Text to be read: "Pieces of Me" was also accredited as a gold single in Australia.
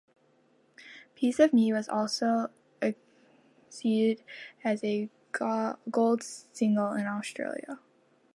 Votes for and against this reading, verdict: 0, 2, rejected